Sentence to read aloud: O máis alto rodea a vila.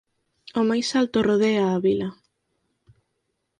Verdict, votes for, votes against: accepted, 4, 0